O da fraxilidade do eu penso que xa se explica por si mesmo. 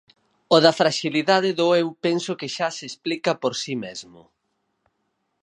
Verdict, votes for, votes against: rejected, 0, 4